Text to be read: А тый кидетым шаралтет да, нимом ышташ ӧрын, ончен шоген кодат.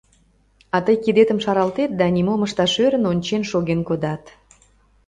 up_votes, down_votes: 2, 0